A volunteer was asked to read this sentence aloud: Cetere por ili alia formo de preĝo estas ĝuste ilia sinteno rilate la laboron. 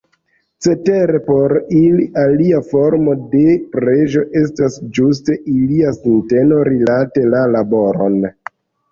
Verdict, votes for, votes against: accepted, 3, 0